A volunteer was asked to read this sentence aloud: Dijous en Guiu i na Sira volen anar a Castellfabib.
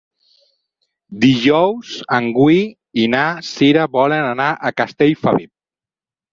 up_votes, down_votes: 2, 4